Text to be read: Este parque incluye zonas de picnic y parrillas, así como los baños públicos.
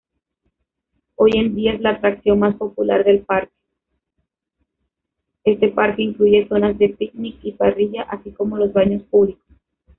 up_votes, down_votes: 0, 3